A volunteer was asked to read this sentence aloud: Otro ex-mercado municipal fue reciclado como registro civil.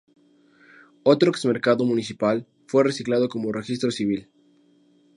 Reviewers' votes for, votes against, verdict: 2, 0, accepted